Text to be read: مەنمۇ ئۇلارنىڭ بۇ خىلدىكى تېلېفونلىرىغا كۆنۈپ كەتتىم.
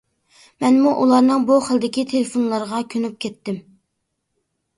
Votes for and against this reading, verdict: 2, 0, accepted